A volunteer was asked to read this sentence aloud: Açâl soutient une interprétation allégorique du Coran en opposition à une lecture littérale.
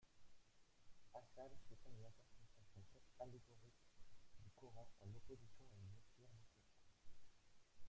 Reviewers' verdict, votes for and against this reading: rejected, 0, 2